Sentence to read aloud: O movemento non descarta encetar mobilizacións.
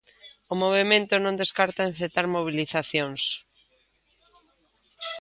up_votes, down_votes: 3, 0